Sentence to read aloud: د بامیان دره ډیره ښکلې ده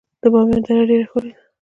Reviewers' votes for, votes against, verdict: 0, 2, rejected